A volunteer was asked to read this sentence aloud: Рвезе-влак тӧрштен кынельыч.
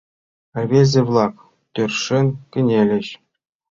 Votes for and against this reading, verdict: 0, 2, rejected